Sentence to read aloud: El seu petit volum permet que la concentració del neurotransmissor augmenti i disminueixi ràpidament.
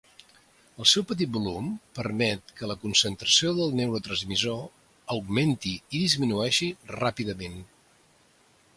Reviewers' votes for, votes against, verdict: 2, 0, accepted